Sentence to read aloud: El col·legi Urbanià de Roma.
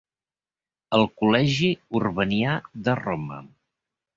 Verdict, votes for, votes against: accepted, 5, 0